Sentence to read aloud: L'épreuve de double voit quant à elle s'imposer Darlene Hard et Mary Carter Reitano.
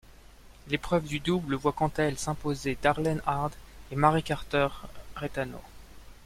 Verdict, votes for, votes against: rejected, 0, 2